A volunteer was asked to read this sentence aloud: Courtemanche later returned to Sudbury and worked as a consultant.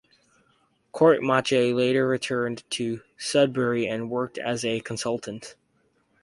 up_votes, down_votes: 2, 0